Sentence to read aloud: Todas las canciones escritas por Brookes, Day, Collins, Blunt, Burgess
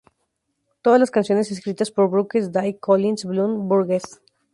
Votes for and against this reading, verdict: 0, 2, rejected